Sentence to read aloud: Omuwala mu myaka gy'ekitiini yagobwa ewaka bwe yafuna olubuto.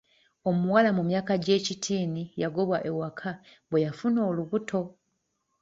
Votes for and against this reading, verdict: 2, 0, accepted